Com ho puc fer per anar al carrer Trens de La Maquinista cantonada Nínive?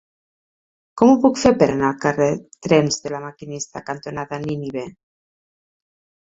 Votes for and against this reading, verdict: 4, 0, accepted